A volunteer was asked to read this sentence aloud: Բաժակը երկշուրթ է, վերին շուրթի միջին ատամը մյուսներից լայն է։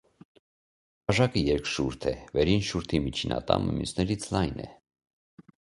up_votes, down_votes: 2, 0